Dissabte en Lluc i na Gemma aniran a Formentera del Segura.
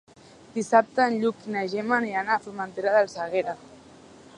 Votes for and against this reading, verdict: 0, 2, rejected